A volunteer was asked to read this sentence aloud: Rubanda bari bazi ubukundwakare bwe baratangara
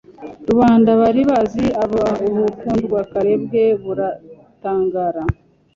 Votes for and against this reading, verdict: 1, 2, rejected